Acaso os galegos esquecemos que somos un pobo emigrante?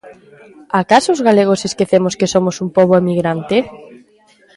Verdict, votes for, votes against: accepted, 2, 0